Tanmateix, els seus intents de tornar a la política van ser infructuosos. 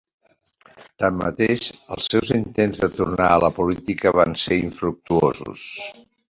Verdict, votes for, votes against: accepted, 2, 0